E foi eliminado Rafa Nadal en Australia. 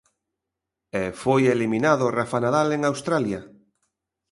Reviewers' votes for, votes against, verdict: 2, 0, accepted